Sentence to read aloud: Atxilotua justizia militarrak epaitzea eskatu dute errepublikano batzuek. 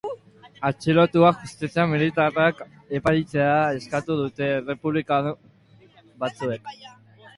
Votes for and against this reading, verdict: 0, 2, rejected